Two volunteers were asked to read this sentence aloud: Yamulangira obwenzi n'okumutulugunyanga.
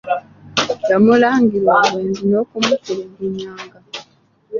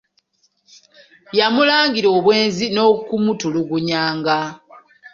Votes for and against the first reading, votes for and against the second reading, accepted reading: 2, 1, 0, 2, first